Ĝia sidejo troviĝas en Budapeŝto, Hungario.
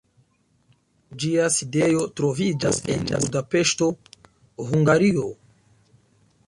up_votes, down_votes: 0, 2